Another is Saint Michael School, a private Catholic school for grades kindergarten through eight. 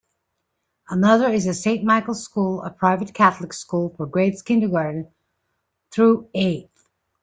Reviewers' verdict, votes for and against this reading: rejected, 1, 2